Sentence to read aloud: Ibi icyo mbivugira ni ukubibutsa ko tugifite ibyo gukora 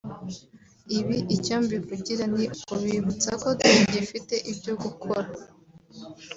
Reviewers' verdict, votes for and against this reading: rejected, 1, 2